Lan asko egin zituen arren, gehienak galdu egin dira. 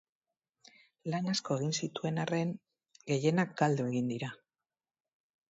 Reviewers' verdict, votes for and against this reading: accepted, 4, 0